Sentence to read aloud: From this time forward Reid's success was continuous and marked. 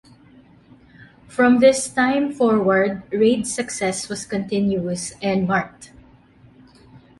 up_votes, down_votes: 2, 0